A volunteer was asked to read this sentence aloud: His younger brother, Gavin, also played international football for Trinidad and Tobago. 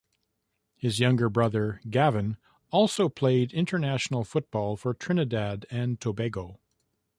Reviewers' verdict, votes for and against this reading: rejected, 0, 2